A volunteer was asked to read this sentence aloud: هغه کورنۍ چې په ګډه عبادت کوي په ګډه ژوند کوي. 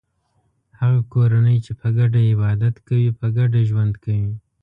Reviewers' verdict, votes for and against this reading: accepted, 2, 0